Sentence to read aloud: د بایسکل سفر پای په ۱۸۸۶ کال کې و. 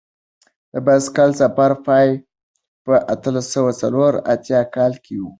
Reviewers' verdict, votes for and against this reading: rejected, 0, 2